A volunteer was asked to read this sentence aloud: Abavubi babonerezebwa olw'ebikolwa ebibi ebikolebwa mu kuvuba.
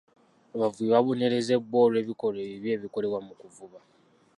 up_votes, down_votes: 2, 0